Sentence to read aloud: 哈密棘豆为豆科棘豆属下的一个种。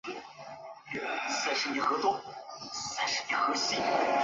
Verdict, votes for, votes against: rejected, 0, 4